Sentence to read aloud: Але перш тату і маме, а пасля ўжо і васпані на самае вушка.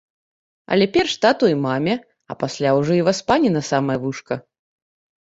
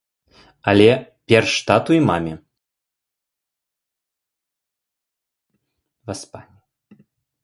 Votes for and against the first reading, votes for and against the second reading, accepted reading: 2, 0, 0, 2, first